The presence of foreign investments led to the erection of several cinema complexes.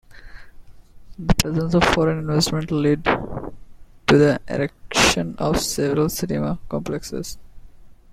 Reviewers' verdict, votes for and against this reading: accepted, 2, 0